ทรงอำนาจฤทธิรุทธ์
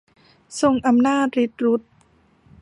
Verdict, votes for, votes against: rejected, 0, 2